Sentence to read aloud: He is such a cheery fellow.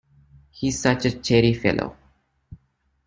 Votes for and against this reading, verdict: 2, 0, accepted